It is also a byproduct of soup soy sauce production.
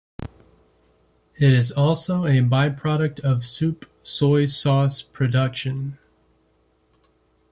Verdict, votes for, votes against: accepted, 2, 0